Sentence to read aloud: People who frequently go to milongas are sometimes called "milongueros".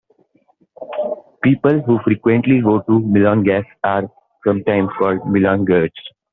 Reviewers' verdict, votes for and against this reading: rejected, 0, 3